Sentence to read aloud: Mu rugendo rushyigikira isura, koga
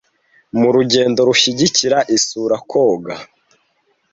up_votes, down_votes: 1, 2